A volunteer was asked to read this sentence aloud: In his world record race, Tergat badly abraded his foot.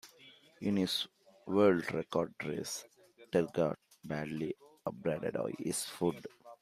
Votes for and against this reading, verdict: 1, 2, rejected